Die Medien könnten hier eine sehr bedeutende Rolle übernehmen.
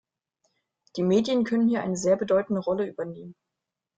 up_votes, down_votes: 1, 2